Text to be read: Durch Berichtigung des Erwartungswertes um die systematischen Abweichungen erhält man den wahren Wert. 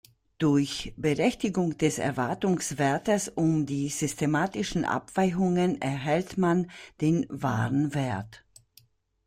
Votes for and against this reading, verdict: 1, 2, rejected